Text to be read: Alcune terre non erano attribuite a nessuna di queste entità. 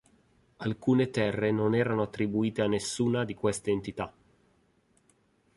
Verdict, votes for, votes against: accepted, 3, 0